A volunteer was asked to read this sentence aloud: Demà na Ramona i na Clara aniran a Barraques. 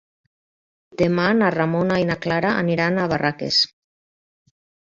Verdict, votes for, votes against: accepted, 3, 0